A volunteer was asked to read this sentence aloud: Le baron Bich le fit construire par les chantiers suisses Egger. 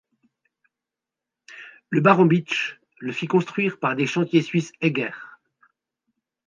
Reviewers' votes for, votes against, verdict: 1, 2, rejected